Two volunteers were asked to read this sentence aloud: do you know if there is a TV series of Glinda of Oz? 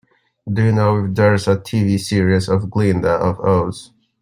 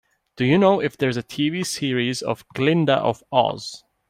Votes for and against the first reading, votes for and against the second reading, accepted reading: 0, 2, 2, 0, second